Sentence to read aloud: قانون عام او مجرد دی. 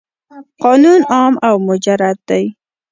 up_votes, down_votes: 1, 2